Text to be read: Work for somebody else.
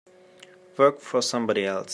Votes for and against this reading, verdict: 2, 0, accepted